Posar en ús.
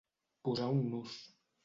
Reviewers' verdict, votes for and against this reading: rejected, 0, 2